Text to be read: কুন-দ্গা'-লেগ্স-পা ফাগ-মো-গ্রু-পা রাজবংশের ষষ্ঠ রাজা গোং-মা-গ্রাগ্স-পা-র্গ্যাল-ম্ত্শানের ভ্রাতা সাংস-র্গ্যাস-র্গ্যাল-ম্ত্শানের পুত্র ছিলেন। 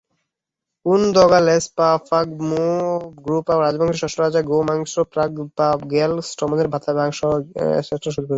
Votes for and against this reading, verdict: 0, 3, rejected